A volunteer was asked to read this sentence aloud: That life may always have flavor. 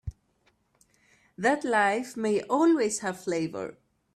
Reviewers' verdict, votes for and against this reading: accepted, 2, 0